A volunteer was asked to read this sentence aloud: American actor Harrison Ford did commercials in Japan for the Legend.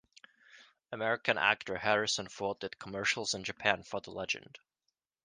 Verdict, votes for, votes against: accepted, 2, 1